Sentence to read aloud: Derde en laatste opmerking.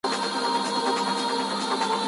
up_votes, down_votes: 0, 2